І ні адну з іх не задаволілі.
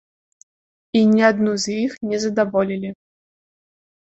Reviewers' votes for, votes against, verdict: 2, 0, accepted